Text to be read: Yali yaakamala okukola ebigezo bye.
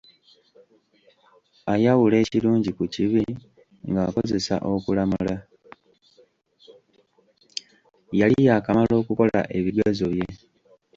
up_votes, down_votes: 0, 2